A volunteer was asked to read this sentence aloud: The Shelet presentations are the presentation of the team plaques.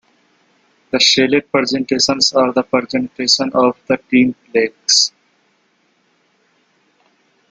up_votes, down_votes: 0, 2